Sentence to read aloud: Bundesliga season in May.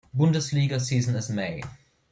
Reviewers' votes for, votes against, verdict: 0, 2, rejected